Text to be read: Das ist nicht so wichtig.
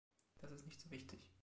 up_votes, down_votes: 0, 2